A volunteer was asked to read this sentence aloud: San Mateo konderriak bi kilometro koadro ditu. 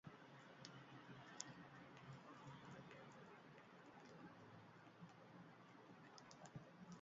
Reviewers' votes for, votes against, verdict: 0, 2, rejected